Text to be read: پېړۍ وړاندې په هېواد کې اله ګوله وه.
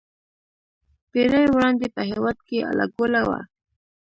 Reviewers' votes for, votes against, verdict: 3, 0, accepted